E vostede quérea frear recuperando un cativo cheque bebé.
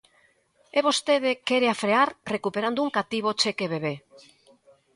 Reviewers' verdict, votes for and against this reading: accepted, 2, 0